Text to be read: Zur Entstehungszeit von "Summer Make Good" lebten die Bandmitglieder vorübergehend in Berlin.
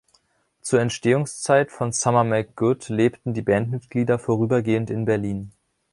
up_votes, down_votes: 2, 0